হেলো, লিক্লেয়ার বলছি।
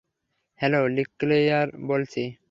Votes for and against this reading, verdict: 3, 0, accepted